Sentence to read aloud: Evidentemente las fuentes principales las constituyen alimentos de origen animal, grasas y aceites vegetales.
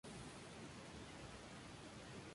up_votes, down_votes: 0, 2